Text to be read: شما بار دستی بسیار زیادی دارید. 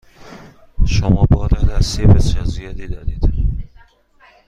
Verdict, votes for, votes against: accepted, 2, 1